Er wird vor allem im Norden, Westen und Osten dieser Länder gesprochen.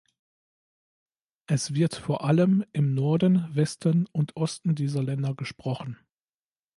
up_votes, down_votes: 1, 2